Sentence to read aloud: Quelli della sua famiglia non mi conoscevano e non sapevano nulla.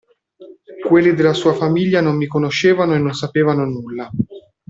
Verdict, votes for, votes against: accepted, 2, 0